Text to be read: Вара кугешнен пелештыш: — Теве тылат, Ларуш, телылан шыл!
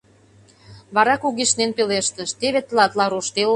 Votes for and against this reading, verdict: 0, 2, rejected